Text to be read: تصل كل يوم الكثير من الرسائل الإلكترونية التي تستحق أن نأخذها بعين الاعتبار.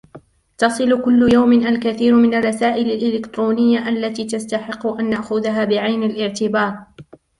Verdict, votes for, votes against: rejected, 0, 2